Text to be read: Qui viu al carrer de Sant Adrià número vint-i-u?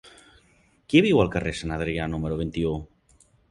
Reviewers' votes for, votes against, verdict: 1, 2, rejected